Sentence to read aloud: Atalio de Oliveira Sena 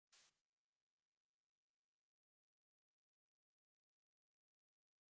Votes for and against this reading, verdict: 0, 2, rejected